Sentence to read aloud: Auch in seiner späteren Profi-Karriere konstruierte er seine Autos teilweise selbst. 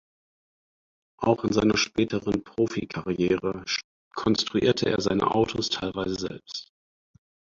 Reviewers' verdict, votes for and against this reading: rejected, 2, 4